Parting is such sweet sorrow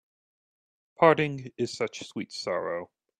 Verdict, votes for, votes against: accepted, 2, 0